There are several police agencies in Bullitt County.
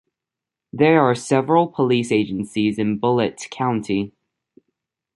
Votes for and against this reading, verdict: 2, 0, accepted